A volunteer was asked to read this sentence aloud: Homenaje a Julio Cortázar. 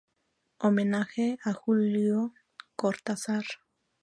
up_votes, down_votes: 2, 0